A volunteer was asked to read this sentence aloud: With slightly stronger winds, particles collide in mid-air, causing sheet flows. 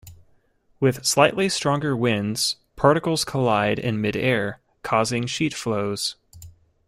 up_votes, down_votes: 2, 0